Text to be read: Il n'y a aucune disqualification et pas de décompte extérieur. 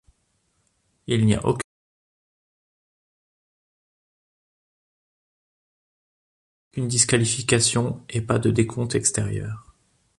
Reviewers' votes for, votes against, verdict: 0, 2, rejected